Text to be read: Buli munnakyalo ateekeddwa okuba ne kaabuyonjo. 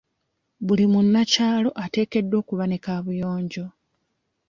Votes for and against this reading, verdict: 2, 0, accepted